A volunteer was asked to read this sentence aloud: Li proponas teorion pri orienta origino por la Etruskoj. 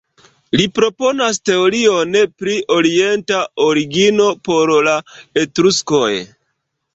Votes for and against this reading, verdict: 1, 2, rejected